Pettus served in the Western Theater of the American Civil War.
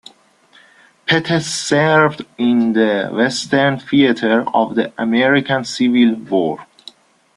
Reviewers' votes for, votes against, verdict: 2, 0, accepted